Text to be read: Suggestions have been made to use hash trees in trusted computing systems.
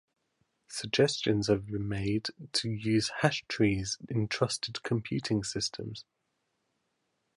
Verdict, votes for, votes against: accepted, 2, 0